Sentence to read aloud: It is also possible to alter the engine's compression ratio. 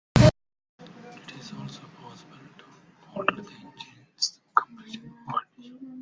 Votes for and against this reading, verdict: 0, 2, rejected